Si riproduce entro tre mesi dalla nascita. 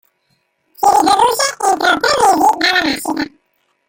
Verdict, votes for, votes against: rejected, 0, 3